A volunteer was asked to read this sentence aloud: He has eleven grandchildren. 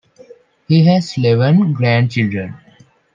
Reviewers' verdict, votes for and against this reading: accepted, 2, 0